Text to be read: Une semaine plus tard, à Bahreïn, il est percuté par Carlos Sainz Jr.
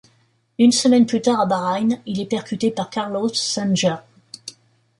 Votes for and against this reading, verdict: 0, 2, rejected